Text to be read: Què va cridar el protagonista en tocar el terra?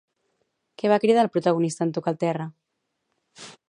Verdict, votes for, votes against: rejected, 0, 2